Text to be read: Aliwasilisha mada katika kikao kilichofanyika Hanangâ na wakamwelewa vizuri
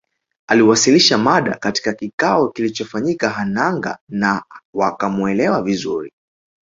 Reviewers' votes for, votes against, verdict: 0, 2, rejected